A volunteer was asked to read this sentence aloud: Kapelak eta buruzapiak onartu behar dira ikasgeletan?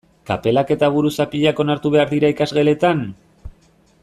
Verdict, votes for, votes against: accepted, 2, 1